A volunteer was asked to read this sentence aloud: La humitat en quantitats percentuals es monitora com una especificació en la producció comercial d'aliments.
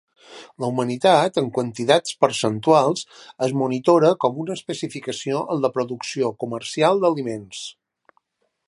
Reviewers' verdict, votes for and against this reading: rejected, 0, 2